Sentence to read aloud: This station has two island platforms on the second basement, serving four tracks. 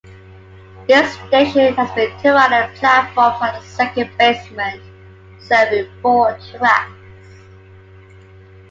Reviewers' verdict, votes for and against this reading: rejected, 0, 2